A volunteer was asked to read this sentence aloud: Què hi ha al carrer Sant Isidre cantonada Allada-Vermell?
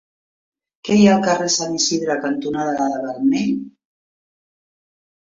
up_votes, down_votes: 2, 0